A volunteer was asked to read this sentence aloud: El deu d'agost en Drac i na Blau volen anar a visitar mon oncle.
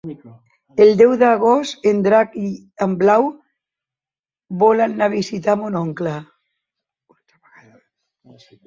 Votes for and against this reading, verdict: 0, 2, rejected